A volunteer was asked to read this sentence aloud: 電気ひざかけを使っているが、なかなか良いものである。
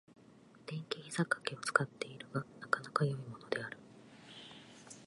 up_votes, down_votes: 2, 0